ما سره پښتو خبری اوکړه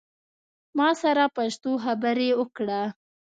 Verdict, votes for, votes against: accepted, 2, 0